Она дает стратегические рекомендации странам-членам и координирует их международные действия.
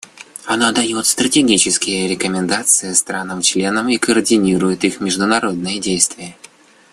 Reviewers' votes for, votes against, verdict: 2, 0, accepted